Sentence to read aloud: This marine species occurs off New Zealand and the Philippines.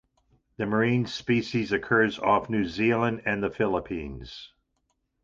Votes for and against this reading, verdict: 1, 2, rejected